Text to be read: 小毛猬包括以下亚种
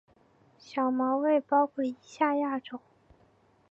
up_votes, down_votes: 2, 0